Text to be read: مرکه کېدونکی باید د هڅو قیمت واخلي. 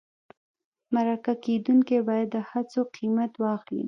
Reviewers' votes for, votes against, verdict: 1, 2, rejected